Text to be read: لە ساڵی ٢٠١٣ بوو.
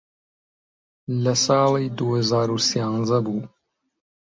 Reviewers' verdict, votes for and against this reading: rejected, 0, 2